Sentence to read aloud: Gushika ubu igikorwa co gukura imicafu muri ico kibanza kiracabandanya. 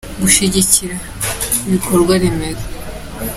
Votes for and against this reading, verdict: 0, 2, rejected